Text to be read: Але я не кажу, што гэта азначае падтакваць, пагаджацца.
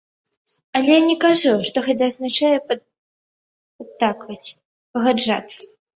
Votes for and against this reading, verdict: 1, 2, rejected